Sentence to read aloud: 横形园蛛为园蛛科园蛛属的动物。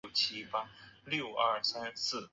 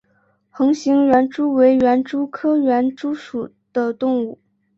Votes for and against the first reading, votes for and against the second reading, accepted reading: 1, 3, 3, 0, second